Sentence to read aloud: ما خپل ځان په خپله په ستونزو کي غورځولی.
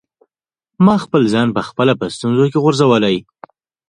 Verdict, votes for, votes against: accepted, 2, 1